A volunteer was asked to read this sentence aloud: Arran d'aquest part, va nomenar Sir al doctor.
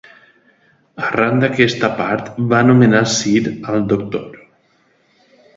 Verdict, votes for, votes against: rejected, 1, 2